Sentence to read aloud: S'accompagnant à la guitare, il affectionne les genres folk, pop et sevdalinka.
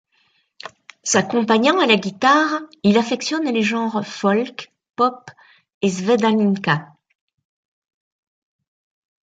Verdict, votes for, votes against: accepted, 2, 1